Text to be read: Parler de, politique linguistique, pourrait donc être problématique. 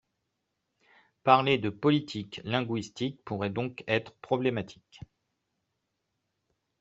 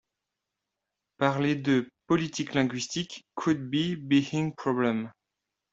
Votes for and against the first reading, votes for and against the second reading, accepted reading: 2, 1, 0, 2, first